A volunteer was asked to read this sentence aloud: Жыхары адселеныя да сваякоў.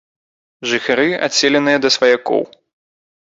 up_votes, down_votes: 2, 0